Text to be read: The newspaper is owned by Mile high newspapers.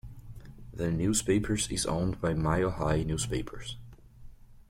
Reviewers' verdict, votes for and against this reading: rejected, 0, 2